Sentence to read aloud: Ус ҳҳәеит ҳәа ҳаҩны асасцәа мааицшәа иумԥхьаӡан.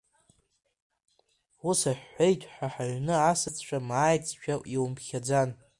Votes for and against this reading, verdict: 1, 2, rejected